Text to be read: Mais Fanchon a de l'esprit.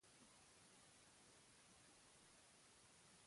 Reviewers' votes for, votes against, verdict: 1, 2, rejected